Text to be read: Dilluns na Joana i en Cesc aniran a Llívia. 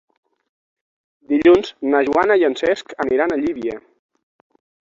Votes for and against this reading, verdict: 9, 0, accepted